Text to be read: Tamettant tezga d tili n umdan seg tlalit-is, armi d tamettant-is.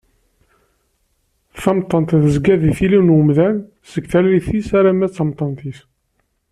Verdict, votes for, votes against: rejected, 0, 2